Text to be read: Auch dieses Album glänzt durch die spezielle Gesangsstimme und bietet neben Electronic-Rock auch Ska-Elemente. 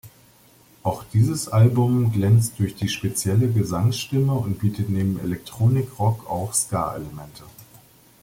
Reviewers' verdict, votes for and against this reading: accepted, 2, 0